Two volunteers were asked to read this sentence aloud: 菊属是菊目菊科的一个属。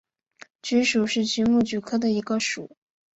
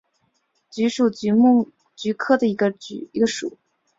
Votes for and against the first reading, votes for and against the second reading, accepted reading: 4, 0, 0, 3, first